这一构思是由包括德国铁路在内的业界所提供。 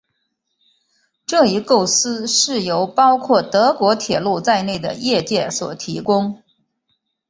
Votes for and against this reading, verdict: 2, 0, accepted